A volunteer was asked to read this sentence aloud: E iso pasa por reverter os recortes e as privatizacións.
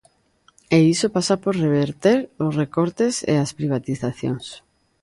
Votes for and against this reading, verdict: 2, 0, accepted